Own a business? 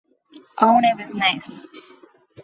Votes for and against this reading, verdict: 0, 2, rejected